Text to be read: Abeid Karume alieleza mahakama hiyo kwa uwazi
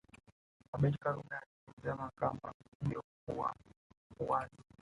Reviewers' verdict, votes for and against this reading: accepted, 3, 1